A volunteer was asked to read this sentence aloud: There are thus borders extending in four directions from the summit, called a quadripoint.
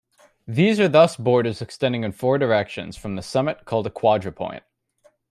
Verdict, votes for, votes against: rejected, 1, 2